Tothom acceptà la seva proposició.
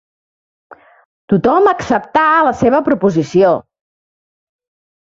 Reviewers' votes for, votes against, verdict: 3, 0, accepted